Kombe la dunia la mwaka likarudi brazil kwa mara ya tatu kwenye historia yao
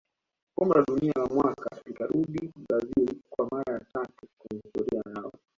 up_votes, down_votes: 1, 2